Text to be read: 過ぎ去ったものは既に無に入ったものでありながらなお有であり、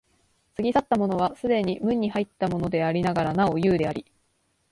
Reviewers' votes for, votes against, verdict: 2, 0, accepted